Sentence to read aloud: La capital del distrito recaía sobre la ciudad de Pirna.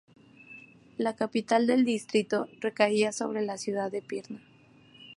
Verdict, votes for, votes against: accepted, 2, 0